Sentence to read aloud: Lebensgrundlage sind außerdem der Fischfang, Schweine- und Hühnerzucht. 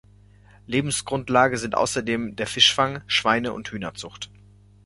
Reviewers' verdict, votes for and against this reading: accepted, 2, 0